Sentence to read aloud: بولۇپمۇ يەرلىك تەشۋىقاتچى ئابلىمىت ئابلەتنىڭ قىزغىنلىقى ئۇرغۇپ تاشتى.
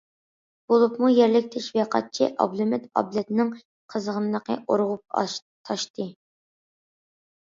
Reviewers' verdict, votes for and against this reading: rejected, 1, 2